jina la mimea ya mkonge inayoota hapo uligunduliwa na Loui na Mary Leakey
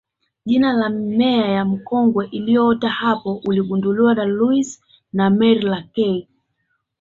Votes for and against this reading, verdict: 2, 0, accepted